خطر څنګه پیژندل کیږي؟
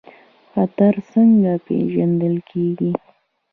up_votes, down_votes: 2, 1